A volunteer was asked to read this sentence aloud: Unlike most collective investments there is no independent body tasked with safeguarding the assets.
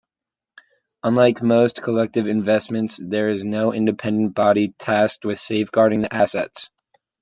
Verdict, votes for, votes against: accepted, 2, 0